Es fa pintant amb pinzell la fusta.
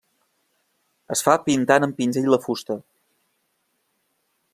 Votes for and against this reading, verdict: 2, 0, accepted